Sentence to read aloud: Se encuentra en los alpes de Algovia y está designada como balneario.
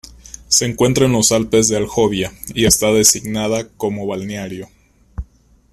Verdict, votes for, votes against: rejected, 1, 2